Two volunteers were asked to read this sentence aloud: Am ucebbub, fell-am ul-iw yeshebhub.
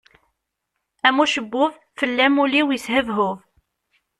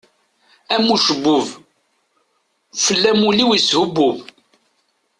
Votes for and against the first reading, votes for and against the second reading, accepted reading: 2, 0, 0, 2, first